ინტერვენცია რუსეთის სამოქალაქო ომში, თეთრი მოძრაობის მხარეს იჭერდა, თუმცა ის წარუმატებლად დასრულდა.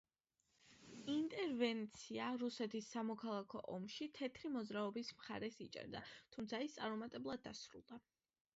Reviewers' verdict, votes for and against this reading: accepted, 2, 0